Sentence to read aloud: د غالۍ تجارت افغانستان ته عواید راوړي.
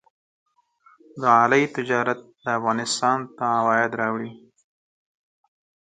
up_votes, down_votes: 14, 2